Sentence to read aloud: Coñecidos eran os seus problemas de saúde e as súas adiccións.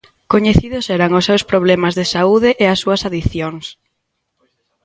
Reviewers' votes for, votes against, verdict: 2, 0, accepted